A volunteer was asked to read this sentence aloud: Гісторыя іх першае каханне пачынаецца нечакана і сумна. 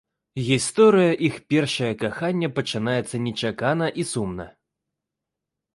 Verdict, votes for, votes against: rejected, 1, 2